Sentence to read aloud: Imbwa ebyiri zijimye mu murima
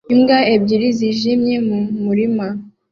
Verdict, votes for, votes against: accepted, 2, 0